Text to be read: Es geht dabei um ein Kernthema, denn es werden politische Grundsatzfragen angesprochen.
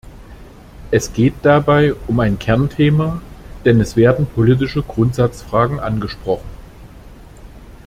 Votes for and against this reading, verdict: 2, 0, accepted